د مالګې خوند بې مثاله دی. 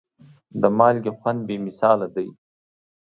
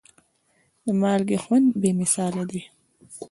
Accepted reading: first